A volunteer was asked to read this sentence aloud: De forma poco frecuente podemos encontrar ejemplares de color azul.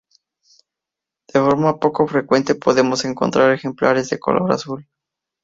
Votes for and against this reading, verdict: 2, 0, accepted